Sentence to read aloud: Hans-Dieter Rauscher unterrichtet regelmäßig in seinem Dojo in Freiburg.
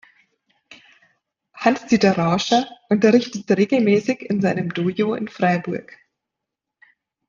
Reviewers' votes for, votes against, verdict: 1, 2, rejected